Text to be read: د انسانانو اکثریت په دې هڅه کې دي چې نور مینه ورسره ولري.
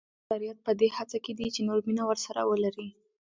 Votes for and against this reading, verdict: 1, 2, rejected